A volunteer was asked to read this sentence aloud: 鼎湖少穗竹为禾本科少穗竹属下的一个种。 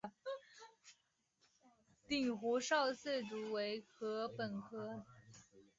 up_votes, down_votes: 1, 2